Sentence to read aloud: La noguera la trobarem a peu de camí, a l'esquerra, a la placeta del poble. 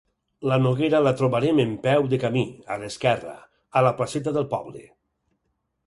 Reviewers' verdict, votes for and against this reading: rejected, 2, 4